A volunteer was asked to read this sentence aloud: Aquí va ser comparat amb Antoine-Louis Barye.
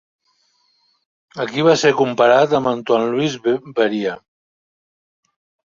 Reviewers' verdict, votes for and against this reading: rejected, 2, 3